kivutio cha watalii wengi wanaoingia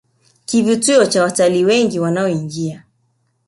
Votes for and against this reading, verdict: 3, 0, accepted